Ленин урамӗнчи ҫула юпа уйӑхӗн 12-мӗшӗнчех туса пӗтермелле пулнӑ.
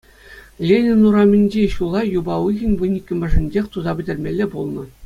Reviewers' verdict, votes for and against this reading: rejected, 0, 2